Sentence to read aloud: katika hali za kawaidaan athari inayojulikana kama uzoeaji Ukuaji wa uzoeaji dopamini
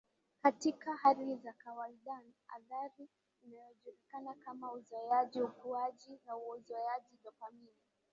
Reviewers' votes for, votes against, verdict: 1, 3, rejected